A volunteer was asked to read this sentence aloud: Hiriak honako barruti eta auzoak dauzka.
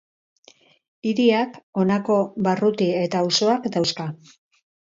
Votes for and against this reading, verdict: 2, 2, rejected